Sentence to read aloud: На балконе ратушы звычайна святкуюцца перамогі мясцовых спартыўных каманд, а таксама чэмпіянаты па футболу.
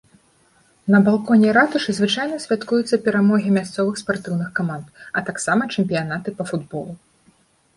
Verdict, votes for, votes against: accepted, 2, 0